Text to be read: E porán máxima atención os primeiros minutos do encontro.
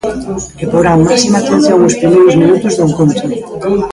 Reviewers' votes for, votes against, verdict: 0, 2, rejected